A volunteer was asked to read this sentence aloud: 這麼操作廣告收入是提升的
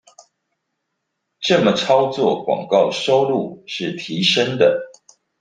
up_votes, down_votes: 3, 0